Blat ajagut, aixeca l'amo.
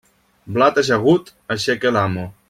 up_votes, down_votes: 2, 0